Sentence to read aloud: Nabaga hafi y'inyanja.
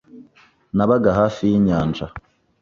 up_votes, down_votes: 2, 0